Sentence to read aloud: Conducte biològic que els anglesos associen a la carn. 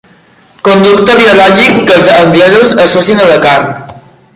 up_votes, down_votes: 0, 2